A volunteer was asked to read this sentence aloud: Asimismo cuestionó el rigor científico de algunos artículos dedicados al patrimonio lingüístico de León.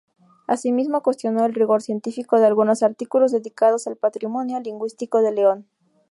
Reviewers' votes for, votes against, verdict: 2, 2, rejected